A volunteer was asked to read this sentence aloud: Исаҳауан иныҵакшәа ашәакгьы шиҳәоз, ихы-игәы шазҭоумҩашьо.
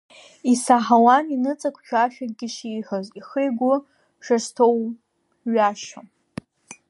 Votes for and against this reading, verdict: 1, 2, rejected